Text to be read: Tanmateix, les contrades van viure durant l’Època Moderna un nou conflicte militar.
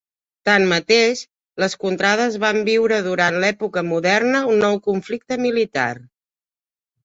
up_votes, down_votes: 3, 0